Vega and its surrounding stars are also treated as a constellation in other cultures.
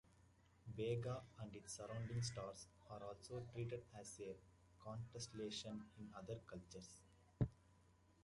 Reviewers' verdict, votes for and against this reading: rejected, 0, 2